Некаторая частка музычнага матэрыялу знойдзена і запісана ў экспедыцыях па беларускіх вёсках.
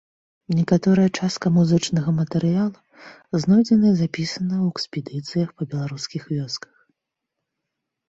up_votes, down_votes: 2, 0